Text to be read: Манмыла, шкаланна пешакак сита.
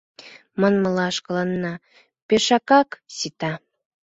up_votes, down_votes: 2, 0